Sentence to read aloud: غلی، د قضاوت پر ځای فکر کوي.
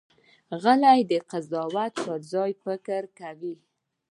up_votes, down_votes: 2, 0